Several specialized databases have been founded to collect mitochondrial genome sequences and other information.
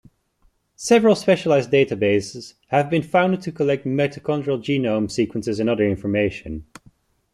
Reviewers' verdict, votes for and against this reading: accepted, 2, 0